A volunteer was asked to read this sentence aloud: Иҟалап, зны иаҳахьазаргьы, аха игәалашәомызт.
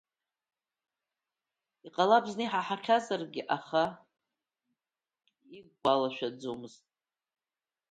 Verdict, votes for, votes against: rejected, 1, 2